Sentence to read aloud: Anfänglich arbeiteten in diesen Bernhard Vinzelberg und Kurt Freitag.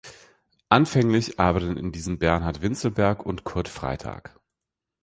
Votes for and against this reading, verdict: 2, 0, accepted